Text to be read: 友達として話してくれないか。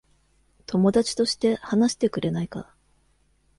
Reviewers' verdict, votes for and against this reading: accepted, 2, 0